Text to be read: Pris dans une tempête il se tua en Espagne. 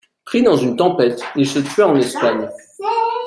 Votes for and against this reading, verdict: 1, 2, rejected